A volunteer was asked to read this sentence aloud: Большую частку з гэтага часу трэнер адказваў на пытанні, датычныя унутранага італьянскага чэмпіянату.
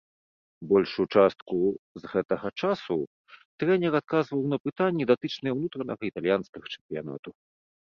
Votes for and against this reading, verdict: 2, 0, accepted